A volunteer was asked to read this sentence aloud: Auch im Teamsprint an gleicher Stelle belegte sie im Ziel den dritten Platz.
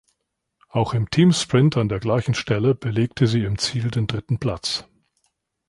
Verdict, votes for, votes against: rejected, 0, 2